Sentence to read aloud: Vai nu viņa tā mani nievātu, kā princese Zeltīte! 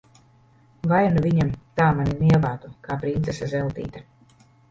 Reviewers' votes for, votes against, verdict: 0, 3, rejected